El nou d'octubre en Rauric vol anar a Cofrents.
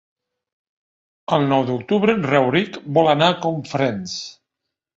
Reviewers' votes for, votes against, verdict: 0, 3, rejected